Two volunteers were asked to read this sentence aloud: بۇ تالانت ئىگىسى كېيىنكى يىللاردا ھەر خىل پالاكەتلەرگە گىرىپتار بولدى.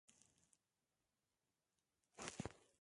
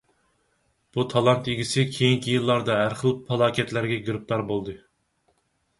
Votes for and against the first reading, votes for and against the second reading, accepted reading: 0, 3, 4, 0, second